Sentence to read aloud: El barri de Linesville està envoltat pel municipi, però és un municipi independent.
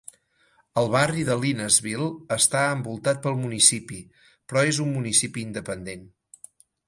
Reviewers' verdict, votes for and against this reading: accepted, 6, 0